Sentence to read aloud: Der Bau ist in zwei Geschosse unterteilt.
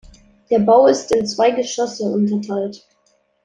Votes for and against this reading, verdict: 2, 0, accepted